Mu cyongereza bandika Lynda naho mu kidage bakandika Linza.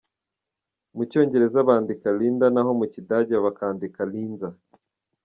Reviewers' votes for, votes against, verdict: 2, 0, accepted